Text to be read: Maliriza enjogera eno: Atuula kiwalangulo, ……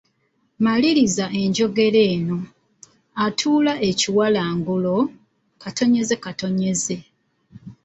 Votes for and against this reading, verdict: 1, 2, rejected